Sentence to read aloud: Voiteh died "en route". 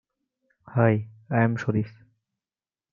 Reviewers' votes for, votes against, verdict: 0, 2, rejected